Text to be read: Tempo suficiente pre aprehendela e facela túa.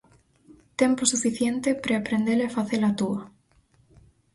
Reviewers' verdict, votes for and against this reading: accepted, 4, 0